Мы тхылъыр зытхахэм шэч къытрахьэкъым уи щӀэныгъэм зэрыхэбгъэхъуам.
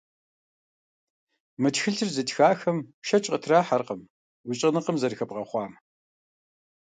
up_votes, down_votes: 1, 2